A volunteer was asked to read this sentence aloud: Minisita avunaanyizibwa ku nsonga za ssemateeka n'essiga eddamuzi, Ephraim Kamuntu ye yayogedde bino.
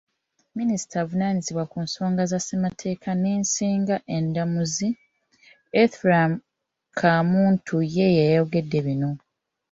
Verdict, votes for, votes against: rejected, 1, 2